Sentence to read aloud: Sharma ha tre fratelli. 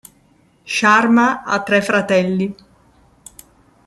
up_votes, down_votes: 2, 0